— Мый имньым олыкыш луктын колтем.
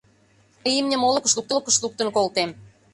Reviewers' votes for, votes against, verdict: 0, 2, rejected